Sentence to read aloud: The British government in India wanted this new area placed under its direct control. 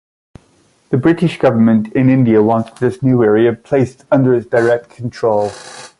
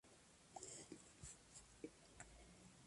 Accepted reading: first